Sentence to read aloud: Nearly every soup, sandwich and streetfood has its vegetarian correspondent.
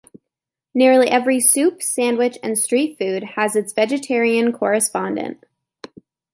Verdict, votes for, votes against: accepted, 2, 0